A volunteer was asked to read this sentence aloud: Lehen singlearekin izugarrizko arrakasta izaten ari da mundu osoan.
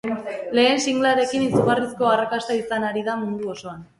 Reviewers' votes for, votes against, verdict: 2, 2, rejected